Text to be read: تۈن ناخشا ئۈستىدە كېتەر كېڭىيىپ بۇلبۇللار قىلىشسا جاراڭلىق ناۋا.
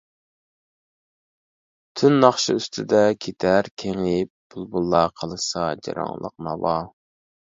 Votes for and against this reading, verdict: 2, 0, accepted